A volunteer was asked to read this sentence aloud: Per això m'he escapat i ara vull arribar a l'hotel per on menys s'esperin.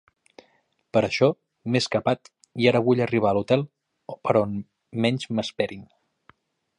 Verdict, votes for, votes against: rejected, 0, 2